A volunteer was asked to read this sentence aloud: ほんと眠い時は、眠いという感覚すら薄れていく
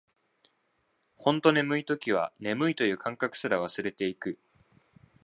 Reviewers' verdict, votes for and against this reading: rejected, 0, 2